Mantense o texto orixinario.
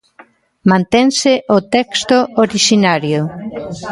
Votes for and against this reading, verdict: 1, 2, rejected